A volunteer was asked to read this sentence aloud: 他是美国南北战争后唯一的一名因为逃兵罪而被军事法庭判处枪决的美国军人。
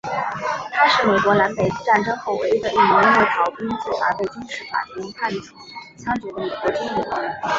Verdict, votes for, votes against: rejected, 0, 4